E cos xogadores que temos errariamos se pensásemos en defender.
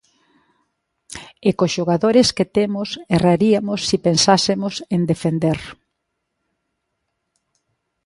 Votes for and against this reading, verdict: 0, 2, rejected